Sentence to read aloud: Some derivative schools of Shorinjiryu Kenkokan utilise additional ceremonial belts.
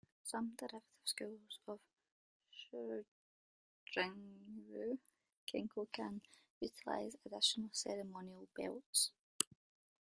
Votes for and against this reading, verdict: 0, 2, rejected